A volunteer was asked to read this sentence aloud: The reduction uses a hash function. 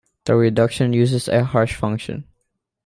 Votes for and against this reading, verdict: 1, 2, rejected